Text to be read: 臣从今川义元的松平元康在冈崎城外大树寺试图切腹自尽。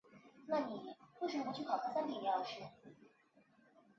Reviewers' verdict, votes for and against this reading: rejected, 1, 2